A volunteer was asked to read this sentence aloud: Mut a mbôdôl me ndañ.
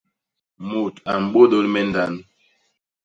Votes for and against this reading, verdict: 0, 2, rejected